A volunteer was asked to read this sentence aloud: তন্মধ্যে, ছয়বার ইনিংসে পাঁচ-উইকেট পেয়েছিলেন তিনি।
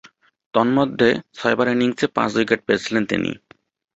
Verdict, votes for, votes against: rejected, 0, 2